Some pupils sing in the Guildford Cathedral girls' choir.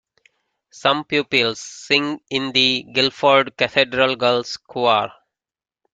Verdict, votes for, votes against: rejected, 0, 2